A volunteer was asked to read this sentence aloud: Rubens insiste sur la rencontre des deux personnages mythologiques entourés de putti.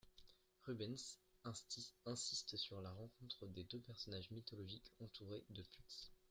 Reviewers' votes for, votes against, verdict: 0, 2, rejected